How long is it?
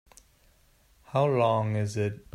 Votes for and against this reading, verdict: 3, 1, accepted